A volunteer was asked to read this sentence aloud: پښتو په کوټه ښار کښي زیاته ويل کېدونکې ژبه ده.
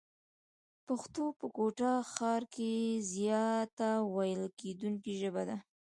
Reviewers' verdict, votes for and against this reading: rejected, 1, 2